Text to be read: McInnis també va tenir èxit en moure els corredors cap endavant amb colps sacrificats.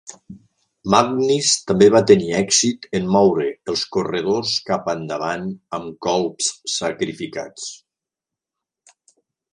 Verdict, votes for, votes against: rejected, 1, 2